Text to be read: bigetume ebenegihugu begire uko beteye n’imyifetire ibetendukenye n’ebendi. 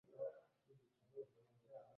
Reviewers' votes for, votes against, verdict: 0, 2, rejected